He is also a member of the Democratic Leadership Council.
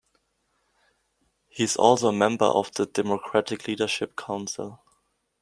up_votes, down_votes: 2, 1